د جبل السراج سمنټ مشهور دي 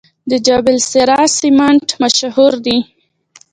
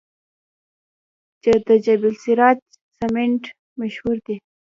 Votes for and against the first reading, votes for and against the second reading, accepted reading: 1, 2, 2, 1, second